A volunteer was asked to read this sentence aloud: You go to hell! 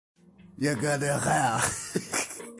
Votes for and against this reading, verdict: 2, 1, accepted